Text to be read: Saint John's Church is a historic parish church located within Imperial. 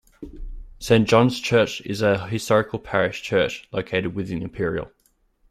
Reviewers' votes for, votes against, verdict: 0, 2, rejected